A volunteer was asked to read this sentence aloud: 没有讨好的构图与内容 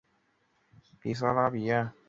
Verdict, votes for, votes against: rejected, 2, 5